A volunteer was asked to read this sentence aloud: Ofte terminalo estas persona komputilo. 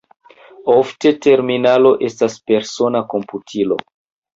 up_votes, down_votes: 2, 0